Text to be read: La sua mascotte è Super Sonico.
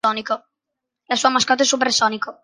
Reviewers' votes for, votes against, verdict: 0, 2, rejected